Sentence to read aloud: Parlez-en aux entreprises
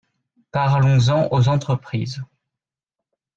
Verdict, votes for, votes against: rejected, 0, 3